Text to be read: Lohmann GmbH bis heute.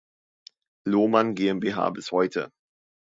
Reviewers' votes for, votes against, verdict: 2, 0, accepted